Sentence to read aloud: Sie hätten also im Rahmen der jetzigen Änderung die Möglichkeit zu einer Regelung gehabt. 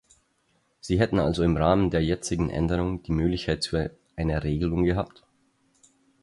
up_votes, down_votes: 4, 0